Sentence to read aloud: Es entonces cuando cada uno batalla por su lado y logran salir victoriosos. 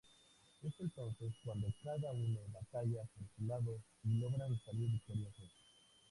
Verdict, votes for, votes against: rejected, 0, 2